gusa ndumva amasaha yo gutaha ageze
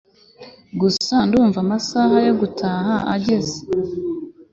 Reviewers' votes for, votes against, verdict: 2, 0, accepted